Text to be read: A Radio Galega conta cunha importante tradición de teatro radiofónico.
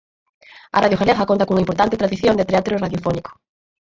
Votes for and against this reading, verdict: 4, 2, accepted